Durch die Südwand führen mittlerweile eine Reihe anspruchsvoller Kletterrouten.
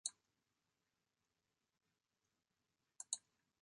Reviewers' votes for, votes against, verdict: 0, 2, rejected